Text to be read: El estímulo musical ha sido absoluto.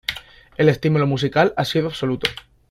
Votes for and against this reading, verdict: 2, 0, accepted